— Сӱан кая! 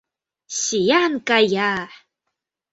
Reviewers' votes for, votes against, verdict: 2, 0, accepted